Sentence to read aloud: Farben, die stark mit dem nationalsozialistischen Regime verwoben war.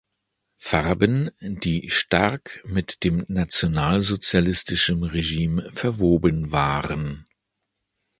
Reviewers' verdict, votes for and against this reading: rejected, 1, 2